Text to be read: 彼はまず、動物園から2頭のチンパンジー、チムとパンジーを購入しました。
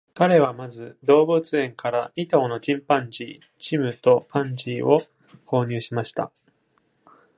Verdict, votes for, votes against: rejected, 0, 2